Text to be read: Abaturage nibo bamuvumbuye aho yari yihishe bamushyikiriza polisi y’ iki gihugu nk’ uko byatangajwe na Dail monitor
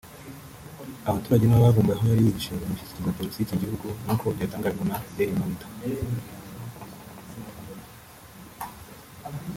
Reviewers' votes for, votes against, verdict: 0, 3, rejected